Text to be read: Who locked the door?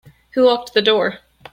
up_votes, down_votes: 2, 1